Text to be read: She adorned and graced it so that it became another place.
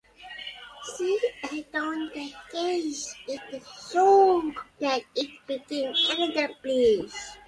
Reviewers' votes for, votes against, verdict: 0, 2, rejected